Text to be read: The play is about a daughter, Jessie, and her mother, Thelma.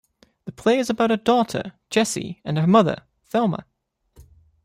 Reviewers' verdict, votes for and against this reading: accepted, 2, 0